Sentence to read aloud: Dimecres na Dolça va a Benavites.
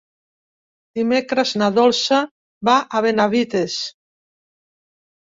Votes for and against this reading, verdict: 3, 0, accepted